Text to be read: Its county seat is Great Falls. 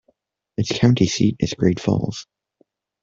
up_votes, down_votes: 0, 2